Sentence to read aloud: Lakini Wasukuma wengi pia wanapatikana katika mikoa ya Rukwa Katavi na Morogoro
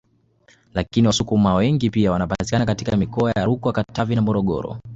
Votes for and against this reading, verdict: 2, 0, accepted